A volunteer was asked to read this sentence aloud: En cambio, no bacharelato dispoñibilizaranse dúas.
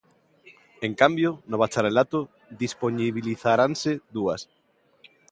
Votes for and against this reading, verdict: 3, 0, accepted